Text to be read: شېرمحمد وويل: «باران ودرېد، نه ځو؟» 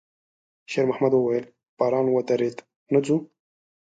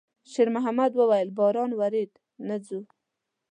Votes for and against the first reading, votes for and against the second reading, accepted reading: 2, 0, 1, 2, first